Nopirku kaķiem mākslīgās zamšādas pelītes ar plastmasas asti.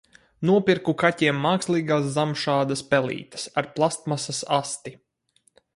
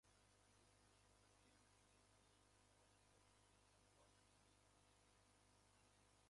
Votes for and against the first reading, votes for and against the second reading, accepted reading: 4, 0, 0, 2, first